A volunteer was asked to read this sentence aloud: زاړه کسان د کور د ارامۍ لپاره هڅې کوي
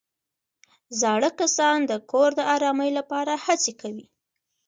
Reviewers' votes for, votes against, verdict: 3, 2, accepted